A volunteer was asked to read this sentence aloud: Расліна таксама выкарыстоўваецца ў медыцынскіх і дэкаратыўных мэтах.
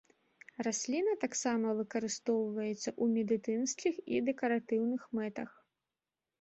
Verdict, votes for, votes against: accepted, 3, 1